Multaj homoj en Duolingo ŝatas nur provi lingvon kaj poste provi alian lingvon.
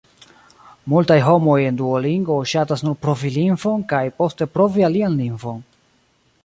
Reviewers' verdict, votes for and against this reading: rejected, 1, 2